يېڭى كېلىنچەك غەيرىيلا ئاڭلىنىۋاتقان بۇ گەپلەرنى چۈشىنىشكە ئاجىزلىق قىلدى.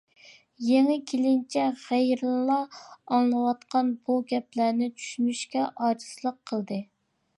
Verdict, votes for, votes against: rejected, 1, 2